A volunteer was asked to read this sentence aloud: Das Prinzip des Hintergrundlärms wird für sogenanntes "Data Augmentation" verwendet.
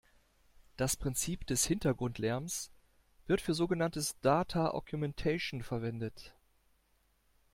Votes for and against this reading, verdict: 2, 0, accepted